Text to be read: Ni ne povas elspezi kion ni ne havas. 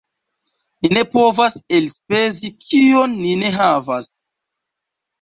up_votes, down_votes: 1, 2